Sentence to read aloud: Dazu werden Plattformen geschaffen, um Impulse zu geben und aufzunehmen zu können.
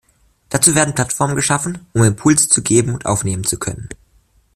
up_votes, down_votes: 0, 2